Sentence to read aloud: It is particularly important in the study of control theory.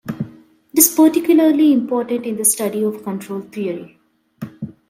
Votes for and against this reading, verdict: 0, 2, rejected